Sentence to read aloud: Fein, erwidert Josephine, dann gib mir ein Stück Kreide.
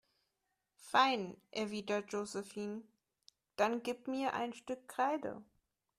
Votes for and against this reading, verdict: 3, 0, accepted